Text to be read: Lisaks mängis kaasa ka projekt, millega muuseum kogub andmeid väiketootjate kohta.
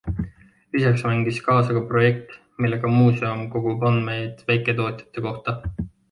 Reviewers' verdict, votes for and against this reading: accepted, 2, 0